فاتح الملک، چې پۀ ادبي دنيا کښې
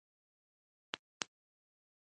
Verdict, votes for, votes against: rejected, 1, 2